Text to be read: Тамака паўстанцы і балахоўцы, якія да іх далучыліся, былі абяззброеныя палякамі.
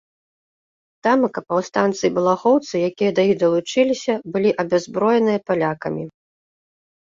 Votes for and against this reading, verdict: 2, 0, accepted